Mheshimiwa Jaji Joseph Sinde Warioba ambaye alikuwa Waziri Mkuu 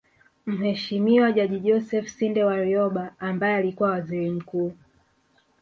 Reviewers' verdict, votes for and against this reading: accepted, 2, 1